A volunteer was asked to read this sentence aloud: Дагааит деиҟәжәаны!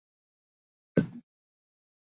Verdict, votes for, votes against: rejected, 0, 2